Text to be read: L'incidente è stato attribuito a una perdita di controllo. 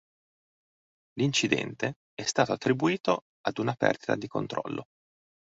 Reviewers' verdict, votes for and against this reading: rejected, 0, 2